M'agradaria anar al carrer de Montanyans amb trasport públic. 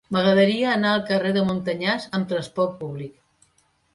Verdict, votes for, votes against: accepted, 2, 0